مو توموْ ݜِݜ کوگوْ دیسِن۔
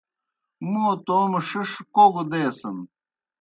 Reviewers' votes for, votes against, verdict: 2, 0, accepted